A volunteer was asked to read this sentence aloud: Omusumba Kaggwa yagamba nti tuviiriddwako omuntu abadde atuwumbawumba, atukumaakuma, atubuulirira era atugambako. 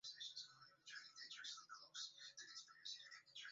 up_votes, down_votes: 0, 2